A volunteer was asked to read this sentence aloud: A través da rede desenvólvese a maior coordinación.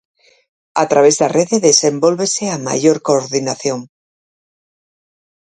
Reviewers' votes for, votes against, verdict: 4, 0, accepted